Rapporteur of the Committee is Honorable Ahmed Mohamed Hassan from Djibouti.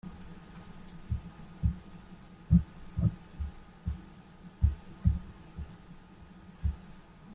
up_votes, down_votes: 0, 2